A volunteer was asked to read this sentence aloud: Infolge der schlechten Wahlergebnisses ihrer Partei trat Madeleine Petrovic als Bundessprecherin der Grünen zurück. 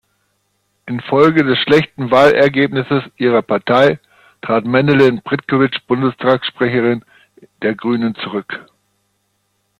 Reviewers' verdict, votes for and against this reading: rejected, 0, 2